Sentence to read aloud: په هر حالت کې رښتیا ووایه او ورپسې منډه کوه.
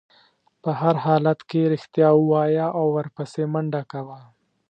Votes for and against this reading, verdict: 2, 0, accepted